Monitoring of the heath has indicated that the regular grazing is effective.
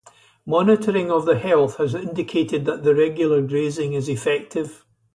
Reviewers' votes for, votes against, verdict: 0, 4, rejected